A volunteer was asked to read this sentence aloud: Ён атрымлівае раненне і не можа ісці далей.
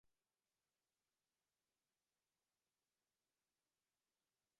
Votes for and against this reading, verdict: 0, 3, rejected